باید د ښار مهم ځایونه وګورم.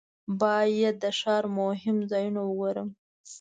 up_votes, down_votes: 2, 0